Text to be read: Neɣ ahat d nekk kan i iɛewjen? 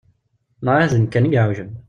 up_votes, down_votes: 1, 2